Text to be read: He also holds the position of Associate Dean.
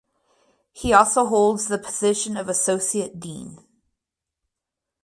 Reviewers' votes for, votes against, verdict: 4, 0, accepted